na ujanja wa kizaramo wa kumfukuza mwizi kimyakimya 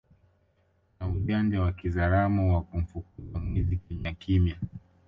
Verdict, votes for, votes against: accepted, 2, 1